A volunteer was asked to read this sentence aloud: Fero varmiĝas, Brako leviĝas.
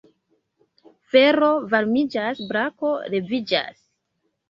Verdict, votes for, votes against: accepted, 2, 0